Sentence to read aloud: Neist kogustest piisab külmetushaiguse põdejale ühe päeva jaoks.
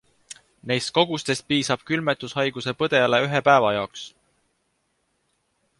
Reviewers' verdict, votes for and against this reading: accepted, 2, 0